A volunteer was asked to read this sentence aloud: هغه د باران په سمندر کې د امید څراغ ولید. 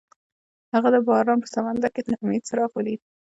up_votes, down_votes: 2, 0